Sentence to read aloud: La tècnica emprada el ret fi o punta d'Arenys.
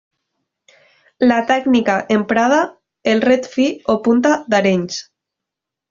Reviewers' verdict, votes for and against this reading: accepted, 2, 0